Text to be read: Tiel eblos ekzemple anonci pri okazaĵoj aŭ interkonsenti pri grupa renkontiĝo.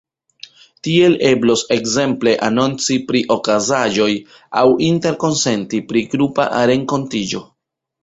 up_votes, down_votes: 0, 2